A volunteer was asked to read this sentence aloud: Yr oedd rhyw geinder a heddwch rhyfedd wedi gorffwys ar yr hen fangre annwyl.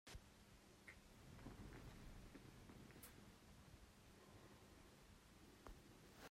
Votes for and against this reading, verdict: 1, 2, rejected